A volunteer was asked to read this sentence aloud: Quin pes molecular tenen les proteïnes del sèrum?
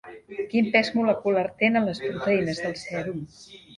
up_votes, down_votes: 2, 0